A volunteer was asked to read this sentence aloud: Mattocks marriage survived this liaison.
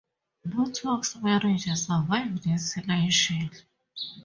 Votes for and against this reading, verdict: 0, 4, rejected